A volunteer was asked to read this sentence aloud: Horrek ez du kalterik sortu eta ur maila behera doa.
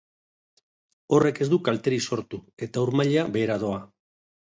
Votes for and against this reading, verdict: 2, 0, accepted